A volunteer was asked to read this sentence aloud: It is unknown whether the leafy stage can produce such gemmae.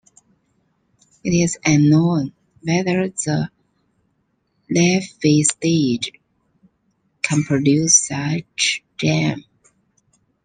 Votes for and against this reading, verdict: 0, 2, rejected